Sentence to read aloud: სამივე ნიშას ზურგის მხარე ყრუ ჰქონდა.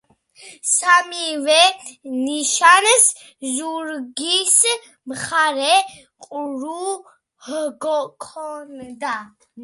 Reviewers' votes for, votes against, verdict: 0, 2, rejected